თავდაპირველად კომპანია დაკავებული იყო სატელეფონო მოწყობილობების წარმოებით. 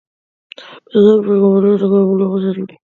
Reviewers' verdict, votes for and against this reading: rejected, 0, 2